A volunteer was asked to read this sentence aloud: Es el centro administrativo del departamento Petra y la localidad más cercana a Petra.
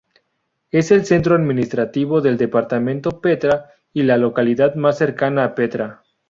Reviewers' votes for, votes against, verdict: 2, 2, rejected